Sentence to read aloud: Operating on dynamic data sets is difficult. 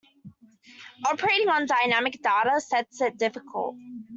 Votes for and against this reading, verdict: 1, 2, rejected